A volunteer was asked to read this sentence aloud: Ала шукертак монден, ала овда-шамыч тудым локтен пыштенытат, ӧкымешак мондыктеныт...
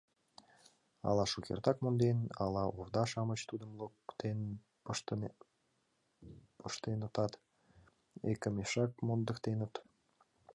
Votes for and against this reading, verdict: 1, 2, rejected